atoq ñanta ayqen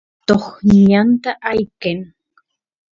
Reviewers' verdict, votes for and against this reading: rejected, 0, 2